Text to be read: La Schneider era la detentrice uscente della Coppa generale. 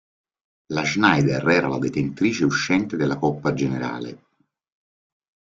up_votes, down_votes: 2, 0